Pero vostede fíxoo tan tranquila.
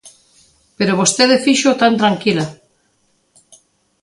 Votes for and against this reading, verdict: 2, 0, accepted